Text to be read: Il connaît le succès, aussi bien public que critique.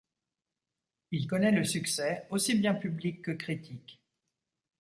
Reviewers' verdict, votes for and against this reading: accepted, 2, 0